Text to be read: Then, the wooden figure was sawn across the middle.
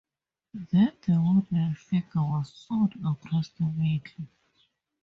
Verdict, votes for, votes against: rejected, 0, 2